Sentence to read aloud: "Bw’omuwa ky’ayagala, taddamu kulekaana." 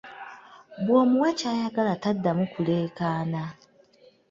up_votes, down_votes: 2, 0